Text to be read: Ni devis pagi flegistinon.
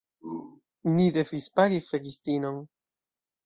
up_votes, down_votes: 1, 2